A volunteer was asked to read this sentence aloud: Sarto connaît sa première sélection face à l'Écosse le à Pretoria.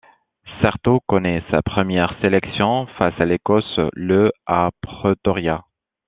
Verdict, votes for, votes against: rejected, 1, 2